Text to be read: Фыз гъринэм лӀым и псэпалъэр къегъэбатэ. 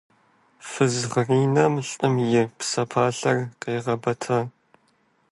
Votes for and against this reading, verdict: 0, 2, rejected